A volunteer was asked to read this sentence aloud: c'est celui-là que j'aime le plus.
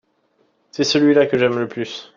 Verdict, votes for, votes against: accepted, 2, 0